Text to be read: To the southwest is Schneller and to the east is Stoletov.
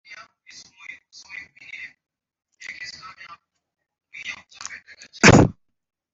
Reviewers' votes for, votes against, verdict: 1, 3, rejected